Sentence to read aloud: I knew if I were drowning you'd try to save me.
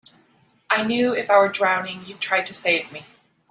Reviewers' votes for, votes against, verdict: 2, 0, accepted